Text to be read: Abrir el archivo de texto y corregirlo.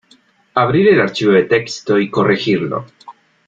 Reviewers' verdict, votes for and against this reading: accepted, 2, 0